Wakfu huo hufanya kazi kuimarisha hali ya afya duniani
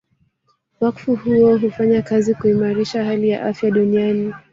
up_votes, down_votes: 1, 2